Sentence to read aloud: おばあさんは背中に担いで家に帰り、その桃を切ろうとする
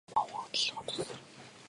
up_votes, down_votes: 0, 2